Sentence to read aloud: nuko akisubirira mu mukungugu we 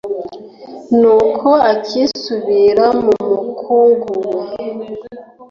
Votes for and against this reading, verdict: 1, 2, rejected